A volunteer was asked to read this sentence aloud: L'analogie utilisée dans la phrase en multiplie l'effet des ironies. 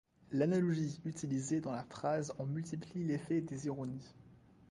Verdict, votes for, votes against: rejected, 1, 2